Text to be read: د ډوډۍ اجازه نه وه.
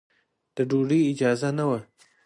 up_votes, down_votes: 3, 0